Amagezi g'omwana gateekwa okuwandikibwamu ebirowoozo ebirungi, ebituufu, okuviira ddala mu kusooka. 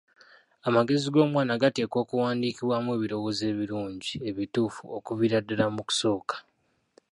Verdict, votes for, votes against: rejected, 1, 2